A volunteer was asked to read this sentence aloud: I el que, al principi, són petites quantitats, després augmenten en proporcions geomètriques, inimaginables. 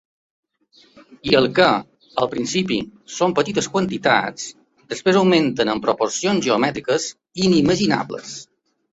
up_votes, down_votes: 2, 0